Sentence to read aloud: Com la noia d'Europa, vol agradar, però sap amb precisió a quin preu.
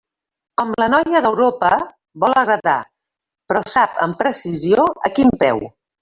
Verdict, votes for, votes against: rejected, 1, 2